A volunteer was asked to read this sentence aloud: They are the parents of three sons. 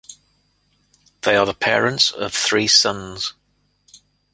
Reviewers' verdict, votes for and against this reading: accepted, 2, 0